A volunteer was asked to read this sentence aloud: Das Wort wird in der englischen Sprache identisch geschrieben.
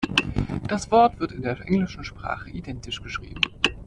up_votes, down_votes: 2, 1